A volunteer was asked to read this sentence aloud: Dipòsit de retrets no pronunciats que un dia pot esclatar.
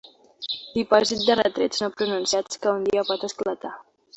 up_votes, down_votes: 2, 0